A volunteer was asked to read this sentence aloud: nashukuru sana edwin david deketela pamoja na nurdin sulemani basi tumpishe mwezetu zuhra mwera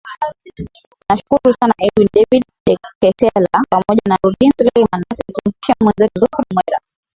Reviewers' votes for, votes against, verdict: 5, 3, accepted